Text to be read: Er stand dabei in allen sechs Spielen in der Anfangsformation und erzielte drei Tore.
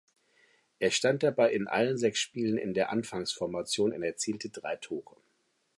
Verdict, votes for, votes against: accepted, 2, 0